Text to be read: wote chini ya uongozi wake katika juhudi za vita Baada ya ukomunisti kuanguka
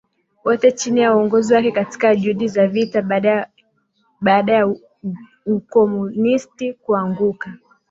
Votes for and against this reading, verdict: 2, 0, accepted